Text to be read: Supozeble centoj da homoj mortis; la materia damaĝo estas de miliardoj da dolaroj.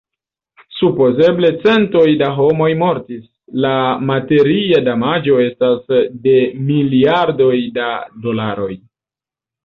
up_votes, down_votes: 1, 2